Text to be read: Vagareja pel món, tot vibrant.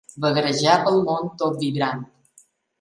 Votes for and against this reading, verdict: 1, 3, rejected